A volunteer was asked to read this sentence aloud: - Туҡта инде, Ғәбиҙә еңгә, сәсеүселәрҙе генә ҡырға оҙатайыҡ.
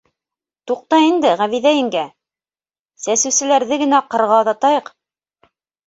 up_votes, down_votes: 2, 0